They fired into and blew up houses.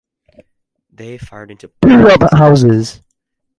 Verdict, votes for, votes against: rejected, 0, 2